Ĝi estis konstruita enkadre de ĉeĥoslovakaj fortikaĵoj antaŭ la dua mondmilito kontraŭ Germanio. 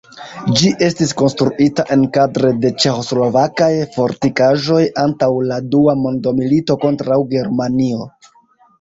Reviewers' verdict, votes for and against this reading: accepted, 2, 0